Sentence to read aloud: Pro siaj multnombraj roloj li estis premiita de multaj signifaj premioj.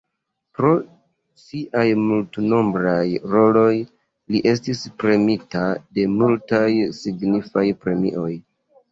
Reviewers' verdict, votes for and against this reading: accepted, 2, 0